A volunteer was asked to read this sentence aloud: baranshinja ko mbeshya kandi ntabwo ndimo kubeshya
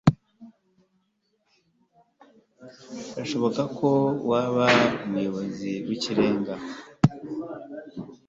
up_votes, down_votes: 1, 2